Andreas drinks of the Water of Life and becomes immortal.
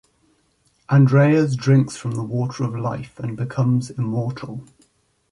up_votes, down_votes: 0, 2